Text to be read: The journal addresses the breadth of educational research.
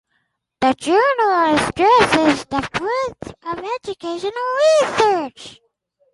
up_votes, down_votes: 2, 4